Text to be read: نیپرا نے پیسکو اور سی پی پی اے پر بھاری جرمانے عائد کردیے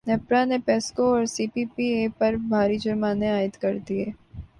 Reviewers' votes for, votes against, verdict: 3, 0, accepted